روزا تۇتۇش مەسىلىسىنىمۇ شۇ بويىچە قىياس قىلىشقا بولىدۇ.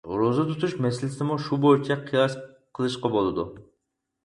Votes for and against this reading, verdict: 0, 4, rejected